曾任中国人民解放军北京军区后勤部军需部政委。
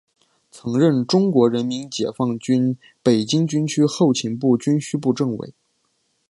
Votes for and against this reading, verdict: 4, 1, accepted